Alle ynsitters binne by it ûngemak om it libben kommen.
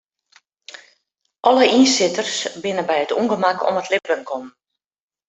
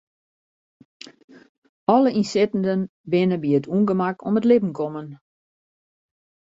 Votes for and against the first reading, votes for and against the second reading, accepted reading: 2, 1, 0, 2, first